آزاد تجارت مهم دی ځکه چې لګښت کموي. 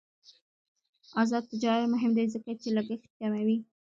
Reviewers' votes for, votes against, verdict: 0, 2, rejected